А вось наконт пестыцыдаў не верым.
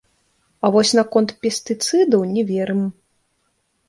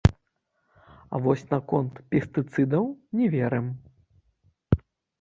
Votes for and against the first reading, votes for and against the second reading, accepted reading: 2, 1, 0, 3, first